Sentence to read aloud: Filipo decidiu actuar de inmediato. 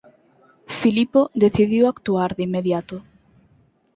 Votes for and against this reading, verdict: 4, 0, accepted